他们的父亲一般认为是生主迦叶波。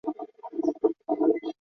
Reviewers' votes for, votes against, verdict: 0, 4, rejected